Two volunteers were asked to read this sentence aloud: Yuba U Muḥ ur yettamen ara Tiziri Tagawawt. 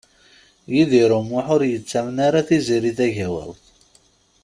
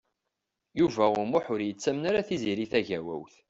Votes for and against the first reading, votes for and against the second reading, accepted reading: 0, 2, 2, 1, second